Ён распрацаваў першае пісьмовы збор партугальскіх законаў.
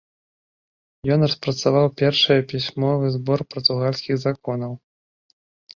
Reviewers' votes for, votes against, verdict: 2, 0, accepted